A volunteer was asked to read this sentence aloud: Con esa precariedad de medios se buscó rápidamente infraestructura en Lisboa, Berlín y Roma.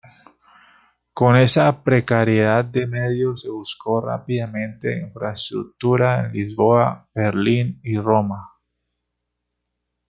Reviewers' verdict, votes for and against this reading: accepted, 2, 0